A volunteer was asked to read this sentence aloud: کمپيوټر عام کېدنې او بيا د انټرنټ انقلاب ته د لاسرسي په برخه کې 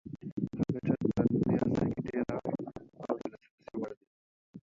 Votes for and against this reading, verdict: 1, 2, rejected